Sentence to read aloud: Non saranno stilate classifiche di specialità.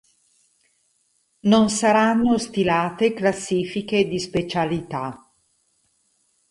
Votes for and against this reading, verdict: 2, 2, rejected